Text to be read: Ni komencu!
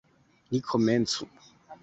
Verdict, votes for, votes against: accepted, 2, 0